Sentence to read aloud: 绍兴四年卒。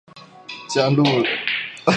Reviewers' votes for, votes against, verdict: 0, 2, rejected